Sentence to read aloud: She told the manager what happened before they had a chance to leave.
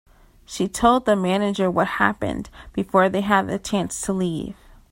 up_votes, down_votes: 3, 0